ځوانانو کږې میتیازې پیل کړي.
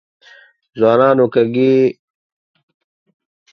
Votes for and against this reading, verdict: 0, 2, rejected